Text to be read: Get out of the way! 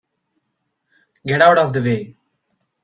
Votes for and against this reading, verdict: 0, 2, rejected